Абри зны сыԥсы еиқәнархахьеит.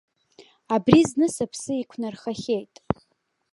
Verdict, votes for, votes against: rejected, 1, 2